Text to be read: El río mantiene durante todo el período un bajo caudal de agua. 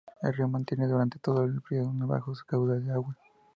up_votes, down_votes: 0, 2